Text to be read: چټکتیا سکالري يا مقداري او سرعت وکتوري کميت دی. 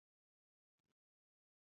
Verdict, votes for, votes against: rejected, 0, 2